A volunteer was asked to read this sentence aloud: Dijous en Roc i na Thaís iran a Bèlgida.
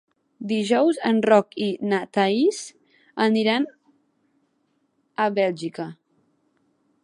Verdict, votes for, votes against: rejected, 1, 2